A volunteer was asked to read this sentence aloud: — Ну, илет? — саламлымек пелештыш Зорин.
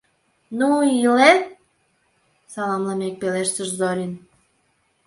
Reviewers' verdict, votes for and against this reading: rejected, 1, 2